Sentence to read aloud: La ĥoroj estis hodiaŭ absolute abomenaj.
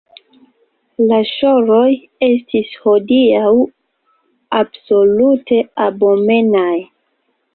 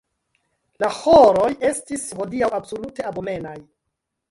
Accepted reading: second